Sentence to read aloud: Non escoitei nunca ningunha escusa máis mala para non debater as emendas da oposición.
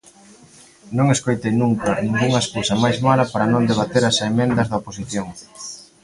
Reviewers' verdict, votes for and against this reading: rejected, 0, 2